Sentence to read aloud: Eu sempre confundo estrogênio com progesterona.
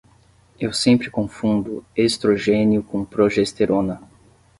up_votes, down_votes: 10, 0